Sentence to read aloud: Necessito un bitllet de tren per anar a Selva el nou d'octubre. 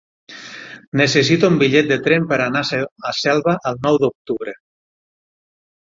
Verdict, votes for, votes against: rejected, 3, 6